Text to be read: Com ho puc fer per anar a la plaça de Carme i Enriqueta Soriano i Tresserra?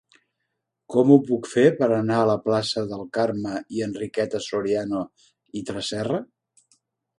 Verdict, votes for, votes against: rejected, 1, 2